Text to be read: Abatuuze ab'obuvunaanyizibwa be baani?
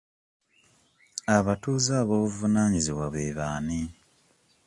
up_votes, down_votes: 0, 2